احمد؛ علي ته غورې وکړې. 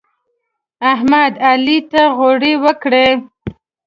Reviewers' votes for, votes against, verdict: 2, 1, accepted